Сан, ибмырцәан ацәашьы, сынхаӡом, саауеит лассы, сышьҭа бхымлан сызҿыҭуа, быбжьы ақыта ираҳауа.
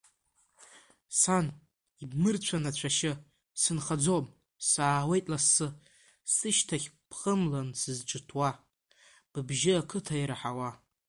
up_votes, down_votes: 1, 2